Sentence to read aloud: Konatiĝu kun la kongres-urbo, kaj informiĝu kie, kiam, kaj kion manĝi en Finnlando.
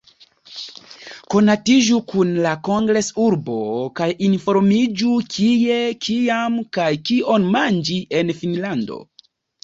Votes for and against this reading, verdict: 2, 0, accepted